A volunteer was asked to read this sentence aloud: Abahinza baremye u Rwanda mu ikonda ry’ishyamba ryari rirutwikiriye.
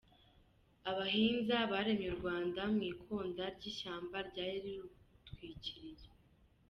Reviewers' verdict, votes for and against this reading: rejected, 1, 2